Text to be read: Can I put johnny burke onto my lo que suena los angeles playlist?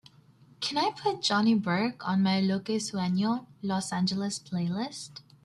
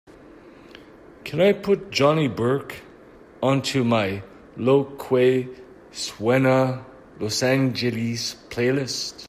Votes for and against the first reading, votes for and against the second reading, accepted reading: 0, 2, 2, 0, second